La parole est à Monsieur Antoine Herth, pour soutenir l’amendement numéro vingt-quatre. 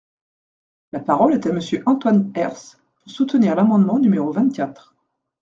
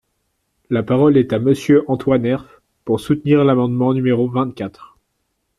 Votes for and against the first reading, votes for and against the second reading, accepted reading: 1, 2, 2, 0, second